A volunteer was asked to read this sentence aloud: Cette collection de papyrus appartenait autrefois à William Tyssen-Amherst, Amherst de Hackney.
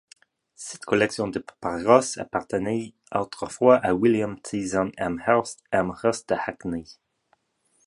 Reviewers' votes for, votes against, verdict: 2, 1, accepted